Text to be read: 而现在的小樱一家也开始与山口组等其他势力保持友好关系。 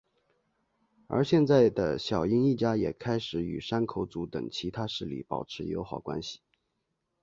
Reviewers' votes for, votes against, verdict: 2, 3, rejected